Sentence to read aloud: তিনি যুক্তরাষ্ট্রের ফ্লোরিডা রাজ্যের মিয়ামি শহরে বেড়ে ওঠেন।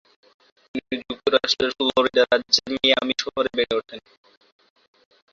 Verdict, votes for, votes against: rejected, 4, 6